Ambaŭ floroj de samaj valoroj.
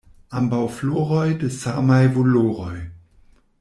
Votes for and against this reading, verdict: 1, 2, rejected